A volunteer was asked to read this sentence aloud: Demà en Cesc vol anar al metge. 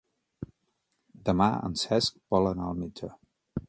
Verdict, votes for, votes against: accepted, 2, 0